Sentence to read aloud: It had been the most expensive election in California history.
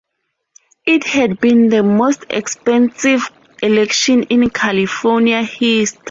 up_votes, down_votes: 2, 4